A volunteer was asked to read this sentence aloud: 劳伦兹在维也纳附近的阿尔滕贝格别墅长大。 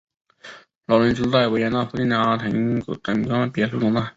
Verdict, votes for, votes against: rejected, 2, 3